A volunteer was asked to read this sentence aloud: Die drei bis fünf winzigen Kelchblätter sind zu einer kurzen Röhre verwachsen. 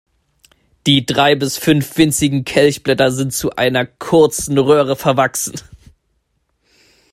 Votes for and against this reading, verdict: 2, 0, accepted